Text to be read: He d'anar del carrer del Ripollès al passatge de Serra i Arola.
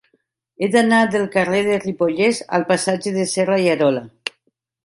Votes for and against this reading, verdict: 3, 0, accepted